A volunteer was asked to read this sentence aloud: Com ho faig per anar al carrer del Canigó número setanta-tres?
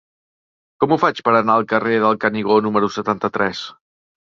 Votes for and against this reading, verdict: 3, 0, accepted